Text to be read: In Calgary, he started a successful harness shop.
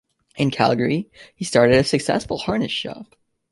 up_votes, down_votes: 2, 0